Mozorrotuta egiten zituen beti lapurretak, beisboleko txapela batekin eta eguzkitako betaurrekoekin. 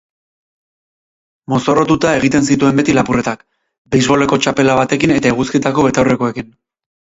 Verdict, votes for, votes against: accepted, 4, 0